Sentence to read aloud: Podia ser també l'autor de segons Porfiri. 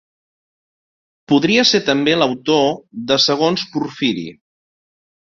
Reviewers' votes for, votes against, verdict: 0, 2, rejected